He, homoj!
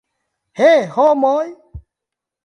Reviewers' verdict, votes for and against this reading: rejected, 1, 2